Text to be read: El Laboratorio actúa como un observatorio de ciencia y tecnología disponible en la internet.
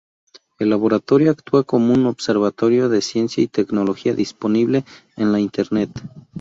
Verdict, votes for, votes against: accepted, 4, 0